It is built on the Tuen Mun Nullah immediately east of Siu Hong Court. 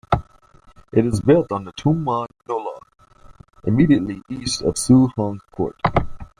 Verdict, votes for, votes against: accepted, 2, 0